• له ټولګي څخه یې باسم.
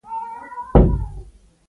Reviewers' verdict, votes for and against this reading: rejected, 0, 2